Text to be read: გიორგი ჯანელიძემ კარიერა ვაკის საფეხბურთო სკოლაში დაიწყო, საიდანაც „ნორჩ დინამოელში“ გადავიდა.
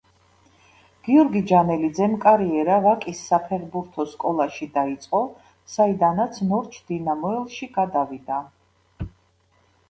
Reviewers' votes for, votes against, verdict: 2, 0, accepted